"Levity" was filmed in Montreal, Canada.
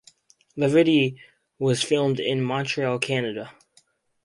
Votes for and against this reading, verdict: 2, 0, accepted